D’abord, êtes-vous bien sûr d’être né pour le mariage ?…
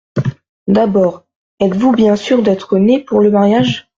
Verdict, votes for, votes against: accepted, 2, 0